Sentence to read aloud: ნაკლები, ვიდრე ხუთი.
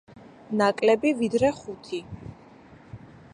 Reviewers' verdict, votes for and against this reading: accepted, 2, 0